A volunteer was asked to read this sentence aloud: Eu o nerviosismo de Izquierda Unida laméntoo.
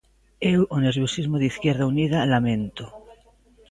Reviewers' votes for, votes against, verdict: 2, 1, accepted